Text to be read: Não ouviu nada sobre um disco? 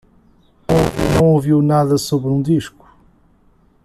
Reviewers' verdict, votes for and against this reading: rejected, 1, 2